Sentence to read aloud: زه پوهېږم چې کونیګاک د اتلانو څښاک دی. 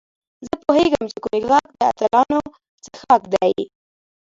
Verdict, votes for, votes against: accepted, 2, 1